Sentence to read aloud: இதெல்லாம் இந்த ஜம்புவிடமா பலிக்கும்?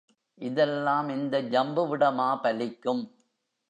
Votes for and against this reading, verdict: 1, 2, rejected